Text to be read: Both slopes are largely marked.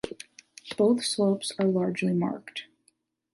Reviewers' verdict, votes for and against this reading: rejected, 1, 2